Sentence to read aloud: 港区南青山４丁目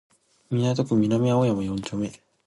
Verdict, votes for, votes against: rejected, 0, 2